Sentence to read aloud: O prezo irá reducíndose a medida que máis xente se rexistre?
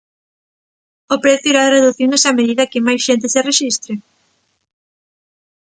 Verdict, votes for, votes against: rejected, 0, 2